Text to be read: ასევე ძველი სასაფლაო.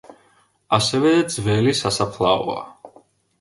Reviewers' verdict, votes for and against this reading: rejected, 1, 2